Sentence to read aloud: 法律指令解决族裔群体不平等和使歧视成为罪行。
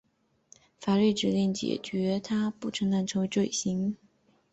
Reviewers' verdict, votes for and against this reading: accepted, 2, 1